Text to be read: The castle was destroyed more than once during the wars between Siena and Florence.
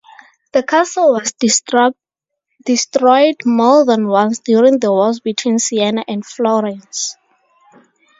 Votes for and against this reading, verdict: 2, 0, accepted